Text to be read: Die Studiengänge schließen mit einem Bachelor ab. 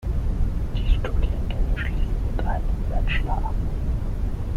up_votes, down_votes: 3, 6